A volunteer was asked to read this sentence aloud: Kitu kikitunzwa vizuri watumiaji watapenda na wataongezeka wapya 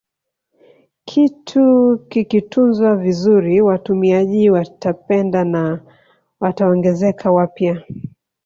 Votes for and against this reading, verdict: 2, 0, accepted